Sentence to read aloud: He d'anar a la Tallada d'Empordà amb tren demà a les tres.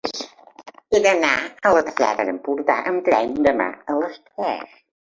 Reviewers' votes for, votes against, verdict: 1, 2, rejected